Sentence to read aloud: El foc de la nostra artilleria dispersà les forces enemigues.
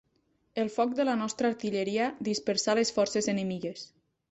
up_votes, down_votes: 2, 0